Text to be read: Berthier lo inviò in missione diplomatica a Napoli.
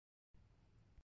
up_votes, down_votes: 0, 3